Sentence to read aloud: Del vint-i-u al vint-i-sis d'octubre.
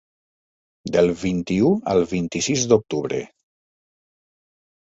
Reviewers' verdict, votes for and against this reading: accepted, 3, 0